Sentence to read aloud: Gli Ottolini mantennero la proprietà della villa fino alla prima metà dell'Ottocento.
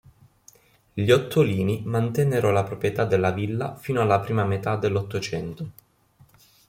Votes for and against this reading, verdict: 2, 0, accepted